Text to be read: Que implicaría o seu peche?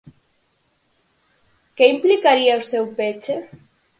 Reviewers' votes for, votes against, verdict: 4, 0, accepted